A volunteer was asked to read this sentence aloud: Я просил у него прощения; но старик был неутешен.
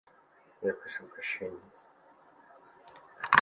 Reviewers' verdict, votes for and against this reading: rejected, 1, 2